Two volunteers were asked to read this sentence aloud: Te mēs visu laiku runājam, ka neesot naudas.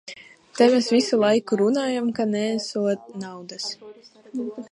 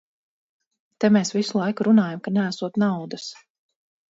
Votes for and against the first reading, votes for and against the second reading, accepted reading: 0, 2, 4, 0, second